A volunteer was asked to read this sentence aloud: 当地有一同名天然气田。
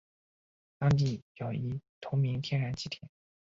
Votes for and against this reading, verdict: 1, 2, rejected